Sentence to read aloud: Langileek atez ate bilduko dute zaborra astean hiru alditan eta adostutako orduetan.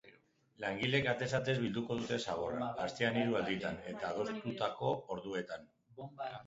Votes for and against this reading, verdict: 1, 2, rejected